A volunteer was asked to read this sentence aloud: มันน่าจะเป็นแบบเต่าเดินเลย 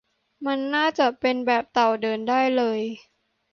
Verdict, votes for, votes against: rejected, 0, 2